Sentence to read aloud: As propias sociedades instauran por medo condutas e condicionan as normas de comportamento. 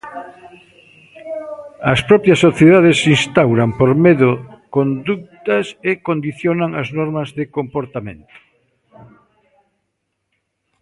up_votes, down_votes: 1, 2